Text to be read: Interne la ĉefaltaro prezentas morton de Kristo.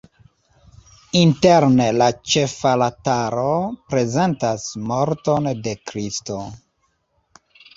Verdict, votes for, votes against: rejected, 0, 2